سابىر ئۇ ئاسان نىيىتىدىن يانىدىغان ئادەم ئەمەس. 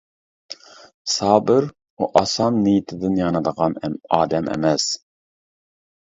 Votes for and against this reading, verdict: 0, 2, rejected